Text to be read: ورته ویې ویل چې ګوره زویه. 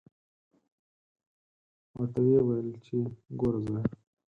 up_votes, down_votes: 2, 4